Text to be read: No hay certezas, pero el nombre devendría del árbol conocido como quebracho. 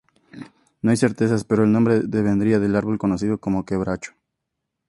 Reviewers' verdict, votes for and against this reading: accepted, 2, 0